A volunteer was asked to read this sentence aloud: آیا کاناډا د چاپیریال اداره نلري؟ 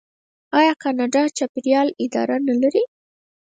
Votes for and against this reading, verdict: 2, 4, rejected